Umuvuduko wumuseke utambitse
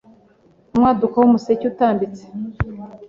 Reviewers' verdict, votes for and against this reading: rejected, 1, 2